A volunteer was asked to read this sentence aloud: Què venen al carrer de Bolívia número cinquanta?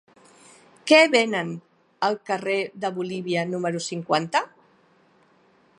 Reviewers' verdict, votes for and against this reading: rejected, 1, 2